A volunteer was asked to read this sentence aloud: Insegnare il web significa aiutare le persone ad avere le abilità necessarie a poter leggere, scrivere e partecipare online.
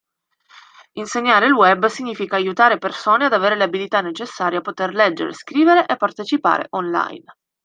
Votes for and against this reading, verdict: 1, 2, rejected